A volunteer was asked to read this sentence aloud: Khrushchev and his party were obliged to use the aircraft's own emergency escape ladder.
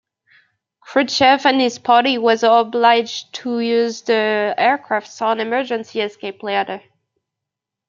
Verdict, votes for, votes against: rejected, 0, 2